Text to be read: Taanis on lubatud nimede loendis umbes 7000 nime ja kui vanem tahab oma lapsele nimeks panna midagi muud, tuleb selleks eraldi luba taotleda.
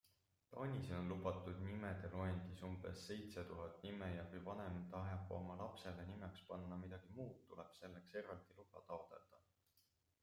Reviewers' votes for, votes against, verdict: 0, 2, rejected